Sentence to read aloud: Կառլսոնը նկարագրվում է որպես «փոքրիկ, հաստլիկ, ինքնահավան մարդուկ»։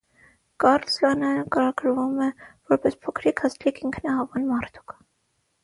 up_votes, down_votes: 3, 3